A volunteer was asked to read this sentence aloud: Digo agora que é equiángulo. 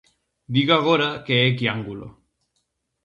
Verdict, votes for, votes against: rejected, 0, 4